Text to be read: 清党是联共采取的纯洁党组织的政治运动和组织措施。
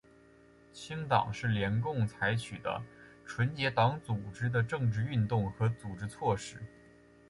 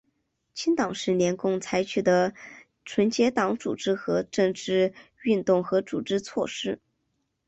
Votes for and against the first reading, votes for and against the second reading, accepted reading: 4, 0, 0, 4, first